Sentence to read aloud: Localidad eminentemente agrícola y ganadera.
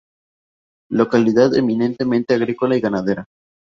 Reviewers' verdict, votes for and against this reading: rejected, 0, 2